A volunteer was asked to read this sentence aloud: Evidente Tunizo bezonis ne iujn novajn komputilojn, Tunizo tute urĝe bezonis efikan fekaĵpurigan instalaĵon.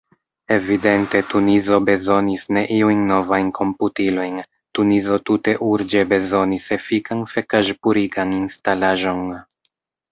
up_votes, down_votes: 2, 0